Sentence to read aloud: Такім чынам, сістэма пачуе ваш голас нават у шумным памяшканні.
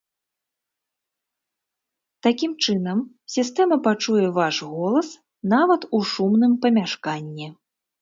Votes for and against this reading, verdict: 2, 0, accepted